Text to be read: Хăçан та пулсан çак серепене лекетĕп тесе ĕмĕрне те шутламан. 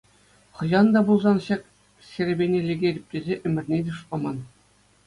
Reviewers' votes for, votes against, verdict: 2, 0, accepted